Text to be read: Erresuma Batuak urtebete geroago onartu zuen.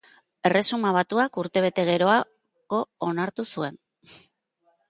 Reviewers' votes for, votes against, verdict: 0, 2, rejected